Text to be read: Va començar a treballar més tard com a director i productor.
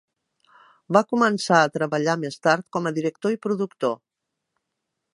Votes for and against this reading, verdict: 2, 0, accepted